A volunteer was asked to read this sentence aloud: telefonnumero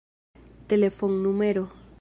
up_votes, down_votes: 2, 0